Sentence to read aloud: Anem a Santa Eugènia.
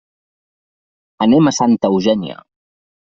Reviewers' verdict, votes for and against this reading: accepted, 3, 0